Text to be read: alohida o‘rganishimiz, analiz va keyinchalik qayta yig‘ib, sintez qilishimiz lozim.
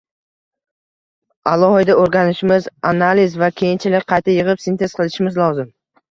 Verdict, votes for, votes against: rejected, 1, 2